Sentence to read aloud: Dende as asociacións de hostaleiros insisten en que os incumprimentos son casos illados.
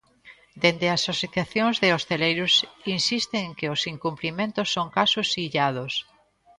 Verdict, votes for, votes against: rejected, 1, 2